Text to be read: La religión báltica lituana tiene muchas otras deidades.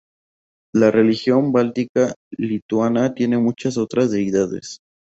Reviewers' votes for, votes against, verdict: 2, 0, accepted